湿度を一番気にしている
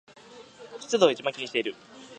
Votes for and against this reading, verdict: 2, 0, accepted